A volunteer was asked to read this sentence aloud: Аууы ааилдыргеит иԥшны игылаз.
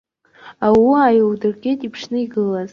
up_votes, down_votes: 2, 0